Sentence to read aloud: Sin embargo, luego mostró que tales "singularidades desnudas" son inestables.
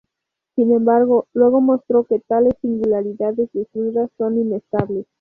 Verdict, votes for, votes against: rejected, 2, 4